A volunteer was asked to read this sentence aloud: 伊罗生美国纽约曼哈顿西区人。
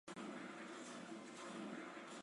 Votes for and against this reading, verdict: 1, 2, rejected